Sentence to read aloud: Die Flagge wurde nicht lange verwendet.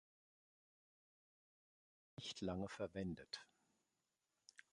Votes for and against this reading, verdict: 0, 2, rejected